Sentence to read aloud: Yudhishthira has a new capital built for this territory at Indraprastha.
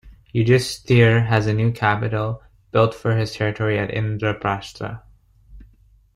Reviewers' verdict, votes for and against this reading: accepted, 2, 0